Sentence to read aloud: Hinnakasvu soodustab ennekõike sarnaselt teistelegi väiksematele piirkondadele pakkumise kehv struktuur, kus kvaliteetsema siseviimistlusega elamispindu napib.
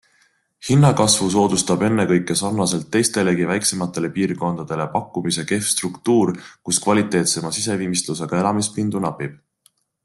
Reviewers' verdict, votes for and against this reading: accepted, 2, 0